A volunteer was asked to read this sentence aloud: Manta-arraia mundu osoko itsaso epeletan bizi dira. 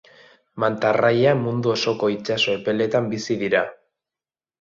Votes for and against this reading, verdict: 2, 1, accepted